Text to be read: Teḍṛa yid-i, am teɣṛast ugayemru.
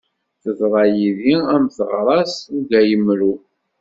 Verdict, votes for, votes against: accepted, 2, 0